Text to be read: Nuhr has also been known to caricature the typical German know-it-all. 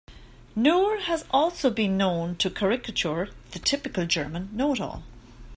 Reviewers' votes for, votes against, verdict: 2, 1, accepted